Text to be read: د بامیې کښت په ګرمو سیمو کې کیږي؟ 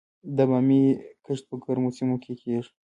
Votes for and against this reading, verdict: 0, 2, rejected